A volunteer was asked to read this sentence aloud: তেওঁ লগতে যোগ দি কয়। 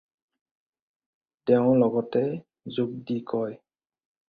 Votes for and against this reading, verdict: 4, 0, accepted